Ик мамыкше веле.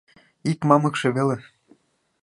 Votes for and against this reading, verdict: 2, 0, accepted